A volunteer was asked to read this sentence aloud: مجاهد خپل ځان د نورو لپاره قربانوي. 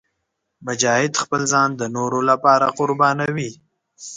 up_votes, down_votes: 2, 0